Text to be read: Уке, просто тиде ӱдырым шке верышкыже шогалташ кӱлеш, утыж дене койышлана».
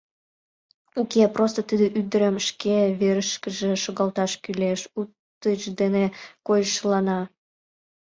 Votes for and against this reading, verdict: 0, 2, rejected